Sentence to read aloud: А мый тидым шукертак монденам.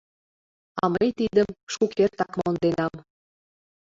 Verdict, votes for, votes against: accepted, 2, 0